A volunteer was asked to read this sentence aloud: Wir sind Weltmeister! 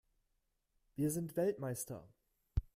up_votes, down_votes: 2, 0